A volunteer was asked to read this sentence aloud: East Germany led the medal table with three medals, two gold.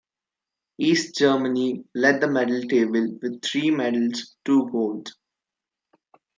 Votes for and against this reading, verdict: 2, 0, accepted